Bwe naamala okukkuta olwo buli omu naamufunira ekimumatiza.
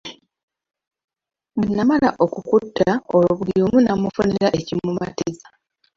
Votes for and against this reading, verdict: 1, 2, rejected